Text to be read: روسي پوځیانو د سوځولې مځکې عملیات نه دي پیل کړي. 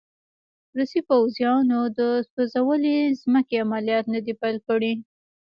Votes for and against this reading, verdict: 2, 1, accepted